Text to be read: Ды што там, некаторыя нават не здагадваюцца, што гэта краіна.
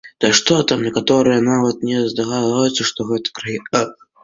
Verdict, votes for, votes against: rejected, 0, 3